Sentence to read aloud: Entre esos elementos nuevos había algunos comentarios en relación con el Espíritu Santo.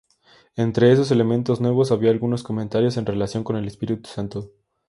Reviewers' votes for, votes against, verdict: 2, 0, accepted